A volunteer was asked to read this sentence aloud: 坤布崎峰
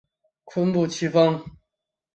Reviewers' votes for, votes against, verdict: 2, 0, accepted